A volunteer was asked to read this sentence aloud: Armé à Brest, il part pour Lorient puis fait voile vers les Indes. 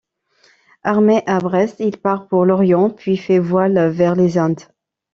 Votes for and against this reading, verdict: 0, 2, rejected